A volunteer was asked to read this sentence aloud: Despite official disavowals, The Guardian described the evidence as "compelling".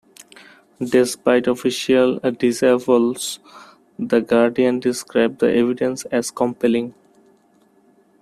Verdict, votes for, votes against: rejected, 0, 2